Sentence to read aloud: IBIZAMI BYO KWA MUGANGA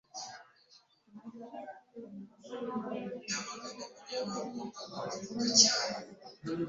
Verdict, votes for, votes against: rejected, 1, 2